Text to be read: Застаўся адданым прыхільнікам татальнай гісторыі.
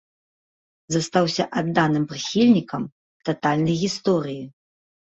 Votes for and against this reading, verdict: 2, 0, accepted